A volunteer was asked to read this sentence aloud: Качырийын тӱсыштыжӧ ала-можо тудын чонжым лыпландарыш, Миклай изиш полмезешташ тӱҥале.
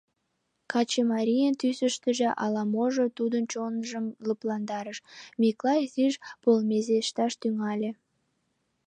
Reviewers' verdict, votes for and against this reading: rejected, 1, 2